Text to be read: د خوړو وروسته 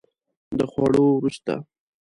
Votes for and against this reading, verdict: 2, 0, accepted